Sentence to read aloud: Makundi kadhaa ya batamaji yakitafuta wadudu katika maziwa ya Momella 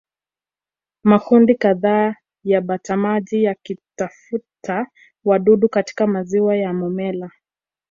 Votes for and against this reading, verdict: 1, 2, rejected